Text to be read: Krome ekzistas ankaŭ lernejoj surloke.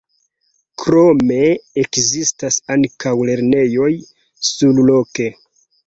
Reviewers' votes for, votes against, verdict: 3, 2, accepted